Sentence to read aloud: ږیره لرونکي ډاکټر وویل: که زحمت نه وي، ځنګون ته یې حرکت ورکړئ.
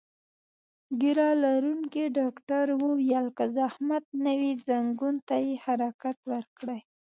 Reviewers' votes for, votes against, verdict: 2, 0, accepted